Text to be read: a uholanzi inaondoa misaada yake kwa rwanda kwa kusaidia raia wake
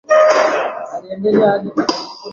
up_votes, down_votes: 1, 11